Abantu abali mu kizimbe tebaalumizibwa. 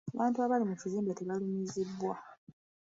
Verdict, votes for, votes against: accepted, 2, 1